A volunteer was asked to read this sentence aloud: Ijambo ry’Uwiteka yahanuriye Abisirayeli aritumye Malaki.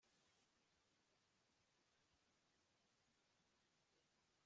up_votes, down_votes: 0, 2